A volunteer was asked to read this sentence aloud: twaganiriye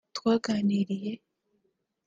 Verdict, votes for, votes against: accepted, 2, 0